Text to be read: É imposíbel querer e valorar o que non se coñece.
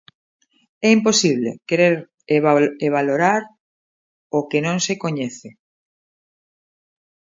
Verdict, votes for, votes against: rejected, 0, 2